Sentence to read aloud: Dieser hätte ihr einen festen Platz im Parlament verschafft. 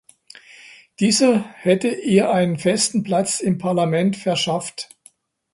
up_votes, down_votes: 2, 0